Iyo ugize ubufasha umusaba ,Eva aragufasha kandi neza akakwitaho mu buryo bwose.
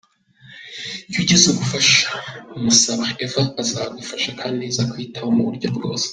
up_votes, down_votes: 1, 2